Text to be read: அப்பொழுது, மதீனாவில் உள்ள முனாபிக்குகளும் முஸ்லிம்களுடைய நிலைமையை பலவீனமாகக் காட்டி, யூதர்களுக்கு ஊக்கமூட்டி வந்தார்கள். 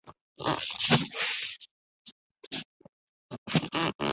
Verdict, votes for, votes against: rejected, 0, 2